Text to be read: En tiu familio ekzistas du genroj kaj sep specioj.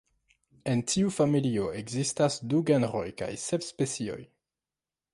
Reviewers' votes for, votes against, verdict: 2, 1, accepted